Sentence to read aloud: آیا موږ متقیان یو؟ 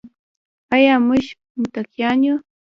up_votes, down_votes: 3, 0